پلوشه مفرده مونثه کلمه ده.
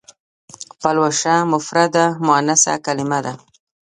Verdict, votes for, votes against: rejected, 1, 2